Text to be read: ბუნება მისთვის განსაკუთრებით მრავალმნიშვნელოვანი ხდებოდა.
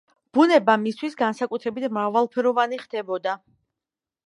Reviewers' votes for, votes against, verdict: 1, 2, rejected